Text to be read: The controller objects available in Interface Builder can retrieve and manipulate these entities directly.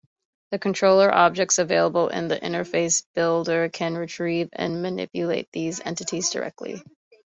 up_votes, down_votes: 2, 0